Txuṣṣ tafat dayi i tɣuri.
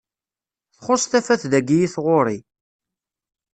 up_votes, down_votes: 2, 0